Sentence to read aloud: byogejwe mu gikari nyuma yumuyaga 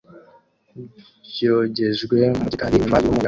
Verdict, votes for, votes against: rejected, 0, 2